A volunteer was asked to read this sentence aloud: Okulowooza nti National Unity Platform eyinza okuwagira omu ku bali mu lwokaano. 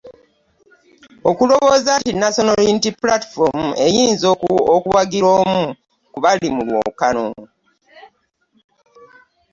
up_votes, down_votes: 1, 2